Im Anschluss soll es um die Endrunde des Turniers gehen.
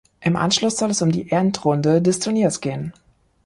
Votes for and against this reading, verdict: 2, 0, accepted